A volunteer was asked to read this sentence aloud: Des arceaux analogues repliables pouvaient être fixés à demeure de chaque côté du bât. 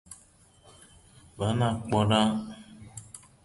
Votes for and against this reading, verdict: 0, 2, rejected